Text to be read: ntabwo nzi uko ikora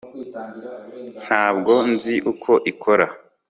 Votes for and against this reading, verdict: 2, 1, accepted